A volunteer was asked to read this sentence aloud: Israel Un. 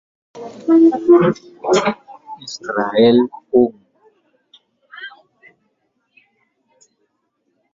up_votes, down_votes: 0, 2